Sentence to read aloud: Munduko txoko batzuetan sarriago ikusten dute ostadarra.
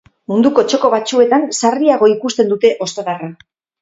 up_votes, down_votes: 4, 0